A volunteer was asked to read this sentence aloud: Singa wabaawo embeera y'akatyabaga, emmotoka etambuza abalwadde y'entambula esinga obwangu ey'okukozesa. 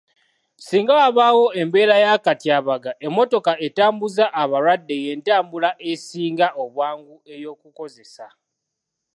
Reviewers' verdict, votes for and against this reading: accepted, 3, 0